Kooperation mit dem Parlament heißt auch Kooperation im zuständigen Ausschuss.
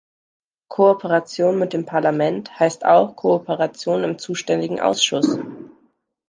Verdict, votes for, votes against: accepted, 2, 0